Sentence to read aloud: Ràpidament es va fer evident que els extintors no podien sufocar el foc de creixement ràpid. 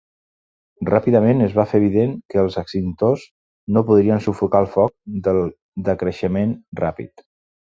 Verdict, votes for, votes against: rejected, 0, 2